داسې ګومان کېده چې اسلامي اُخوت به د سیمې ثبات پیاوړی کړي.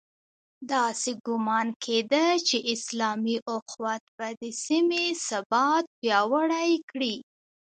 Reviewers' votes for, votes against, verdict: 2, 1, accepted